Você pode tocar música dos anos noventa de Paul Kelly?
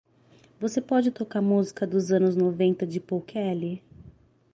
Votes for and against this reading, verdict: 6, 0, accepted